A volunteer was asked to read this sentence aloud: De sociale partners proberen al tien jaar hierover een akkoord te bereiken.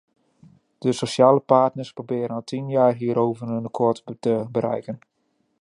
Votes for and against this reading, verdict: 0, 2, rejected